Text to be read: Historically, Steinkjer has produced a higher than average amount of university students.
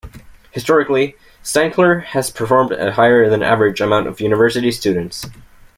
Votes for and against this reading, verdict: 0, 2, rejected